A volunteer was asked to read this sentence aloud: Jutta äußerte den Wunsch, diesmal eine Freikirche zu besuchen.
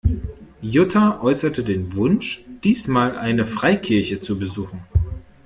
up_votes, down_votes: 2, 0